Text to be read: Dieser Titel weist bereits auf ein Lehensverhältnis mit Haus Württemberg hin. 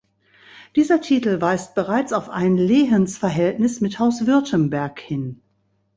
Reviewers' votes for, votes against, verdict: 3, 0, accepted